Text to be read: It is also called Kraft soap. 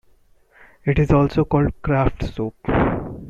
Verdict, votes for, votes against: accepted, 2, 0